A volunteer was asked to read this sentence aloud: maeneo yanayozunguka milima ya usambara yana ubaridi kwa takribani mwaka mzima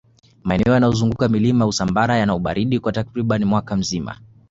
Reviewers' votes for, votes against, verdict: 2, 0, accepted